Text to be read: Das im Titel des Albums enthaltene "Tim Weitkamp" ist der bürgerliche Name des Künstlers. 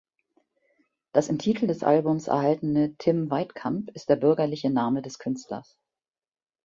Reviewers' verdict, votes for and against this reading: rejected, 1, 2